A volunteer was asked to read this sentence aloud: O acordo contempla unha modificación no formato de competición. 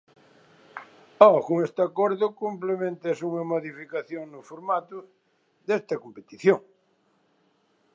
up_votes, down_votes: 0, 2